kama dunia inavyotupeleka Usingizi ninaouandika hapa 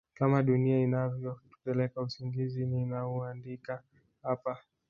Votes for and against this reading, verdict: 1, 2, rejected